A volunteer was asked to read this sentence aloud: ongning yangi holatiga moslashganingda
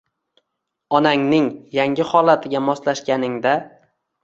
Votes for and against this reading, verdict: 0, 2, rejected